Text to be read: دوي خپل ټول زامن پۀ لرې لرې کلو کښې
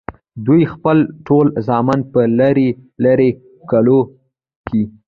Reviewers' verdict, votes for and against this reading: accepted, 2, 0